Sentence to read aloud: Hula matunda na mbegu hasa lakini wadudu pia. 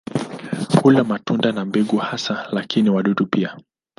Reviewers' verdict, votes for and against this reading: rejected, 0, 2